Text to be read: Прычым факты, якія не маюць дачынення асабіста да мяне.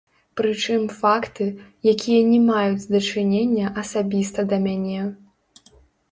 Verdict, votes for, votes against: rejected, 0, 2